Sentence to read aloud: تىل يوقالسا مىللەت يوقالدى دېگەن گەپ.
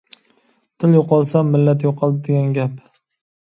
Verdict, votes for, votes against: accepted, 2, 1